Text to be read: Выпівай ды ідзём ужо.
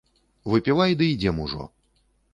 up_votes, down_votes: 3, 1